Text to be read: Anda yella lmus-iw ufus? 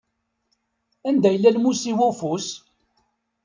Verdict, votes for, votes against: accepted, 2, 0